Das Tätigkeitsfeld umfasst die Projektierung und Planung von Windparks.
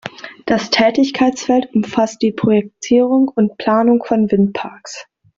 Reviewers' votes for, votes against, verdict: 2, 0, accepted